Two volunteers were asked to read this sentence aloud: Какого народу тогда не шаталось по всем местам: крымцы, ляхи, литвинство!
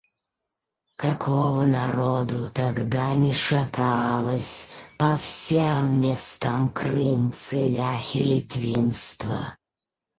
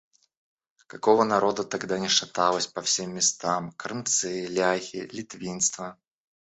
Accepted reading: second